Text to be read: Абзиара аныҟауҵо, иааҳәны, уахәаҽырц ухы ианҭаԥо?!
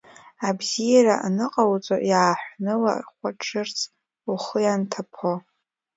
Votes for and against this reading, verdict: 2, 1, accepted